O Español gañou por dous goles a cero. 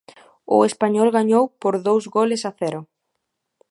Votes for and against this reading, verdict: 2, 0, accepted